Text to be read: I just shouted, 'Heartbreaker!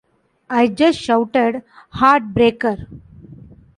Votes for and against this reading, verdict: 2, 0, accepted